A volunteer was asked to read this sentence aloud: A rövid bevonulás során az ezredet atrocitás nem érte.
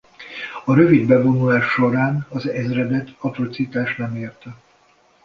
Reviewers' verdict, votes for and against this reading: accepted, 2, 0